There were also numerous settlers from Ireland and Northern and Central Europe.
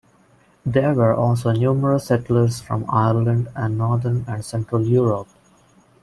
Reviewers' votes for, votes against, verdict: 2, 0, accepted